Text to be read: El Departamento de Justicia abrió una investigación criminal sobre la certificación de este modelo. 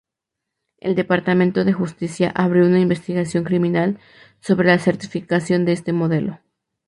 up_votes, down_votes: 2, 0